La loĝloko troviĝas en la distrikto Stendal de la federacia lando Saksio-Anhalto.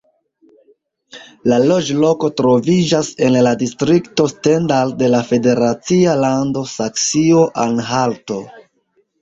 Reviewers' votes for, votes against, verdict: 2, 1, accepted